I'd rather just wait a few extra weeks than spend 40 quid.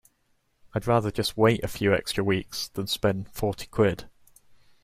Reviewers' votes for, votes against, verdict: 0, 2, rejected